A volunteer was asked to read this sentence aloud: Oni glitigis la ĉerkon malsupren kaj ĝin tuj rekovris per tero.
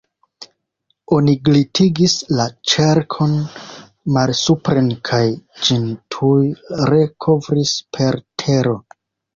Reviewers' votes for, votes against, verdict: 1, 2, rejected